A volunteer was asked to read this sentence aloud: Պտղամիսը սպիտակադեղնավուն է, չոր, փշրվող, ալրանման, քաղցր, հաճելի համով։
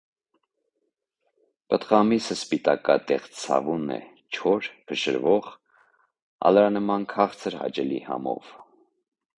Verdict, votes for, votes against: rejected, 0, 2